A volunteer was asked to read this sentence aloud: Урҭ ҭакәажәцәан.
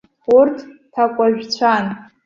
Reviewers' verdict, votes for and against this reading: accepted, 2, 0